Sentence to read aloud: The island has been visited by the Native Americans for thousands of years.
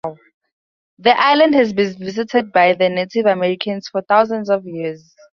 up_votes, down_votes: 4, 2